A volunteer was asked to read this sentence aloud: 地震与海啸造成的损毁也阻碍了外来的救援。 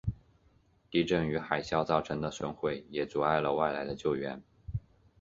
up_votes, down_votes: 1, 2